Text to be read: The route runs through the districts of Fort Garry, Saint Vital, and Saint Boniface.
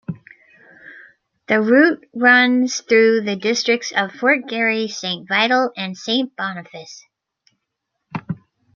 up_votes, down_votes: 2, 0